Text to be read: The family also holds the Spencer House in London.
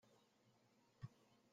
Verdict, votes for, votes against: rejected, 0, 2